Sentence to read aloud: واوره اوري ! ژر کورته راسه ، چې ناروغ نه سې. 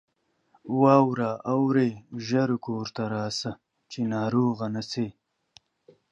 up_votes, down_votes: 2, 0